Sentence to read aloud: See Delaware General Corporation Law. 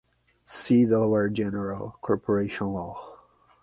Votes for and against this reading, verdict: 3, 0, accepted